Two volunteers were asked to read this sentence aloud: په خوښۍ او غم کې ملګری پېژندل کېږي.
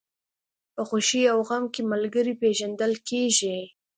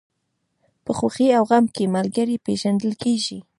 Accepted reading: first